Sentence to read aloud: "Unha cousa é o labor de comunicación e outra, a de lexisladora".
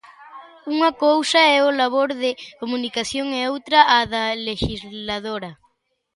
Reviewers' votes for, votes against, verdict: 0, 2, rejected